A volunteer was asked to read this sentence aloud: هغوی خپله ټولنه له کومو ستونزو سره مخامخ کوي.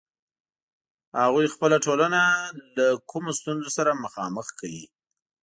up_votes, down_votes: 2, 0